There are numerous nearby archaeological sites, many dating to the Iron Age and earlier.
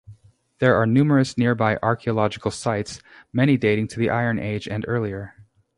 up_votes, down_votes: 2, 0